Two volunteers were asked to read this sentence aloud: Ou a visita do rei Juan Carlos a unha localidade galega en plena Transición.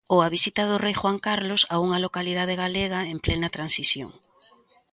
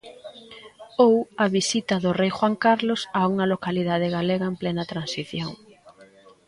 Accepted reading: first